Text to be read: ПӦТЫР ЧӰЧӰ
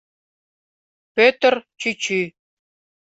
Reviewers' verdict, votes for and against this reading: accepted, 2, 0